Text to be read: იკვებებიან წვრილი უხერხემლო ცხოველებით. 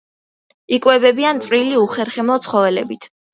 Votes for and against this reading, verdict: 2, 0, accepted